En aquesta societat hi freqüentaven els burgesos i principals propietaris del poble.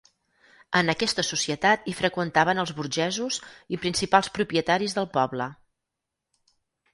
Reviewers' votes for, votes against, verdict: 4, 0, accepted